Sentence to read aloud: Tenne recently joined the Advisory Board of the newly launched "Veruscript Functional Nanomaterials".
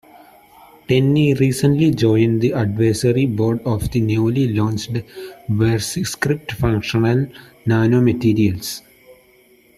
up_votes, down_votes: 2, 0